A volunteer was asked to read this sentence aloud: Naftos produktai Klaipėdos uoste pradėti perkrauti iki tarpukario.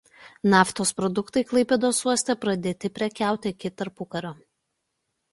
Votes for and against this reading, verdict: 0, 2, rejected